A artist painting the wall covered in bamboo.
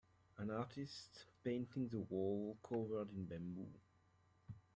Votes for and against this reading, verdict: 1, 2, rejected